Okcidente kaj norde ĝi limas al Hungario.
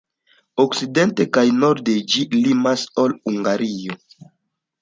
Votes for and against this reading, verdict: 1, 2, rejected